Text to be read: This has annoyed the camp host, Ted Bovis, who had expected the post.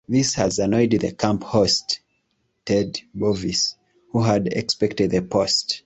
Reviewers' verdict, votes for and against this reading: accepted, 2, 0